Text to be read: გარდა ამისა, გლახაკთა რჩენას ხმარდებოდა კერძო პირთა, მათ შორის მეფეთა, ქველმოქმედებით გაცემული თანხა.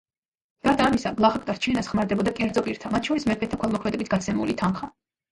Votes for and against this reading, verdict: 2, 0, accepted